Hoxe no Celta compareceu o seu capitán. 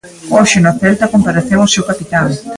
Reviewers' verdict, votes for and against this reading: accepted, 2, 0